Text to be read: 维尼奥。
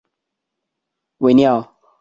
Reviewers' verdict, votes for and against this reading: accepted, 2, 0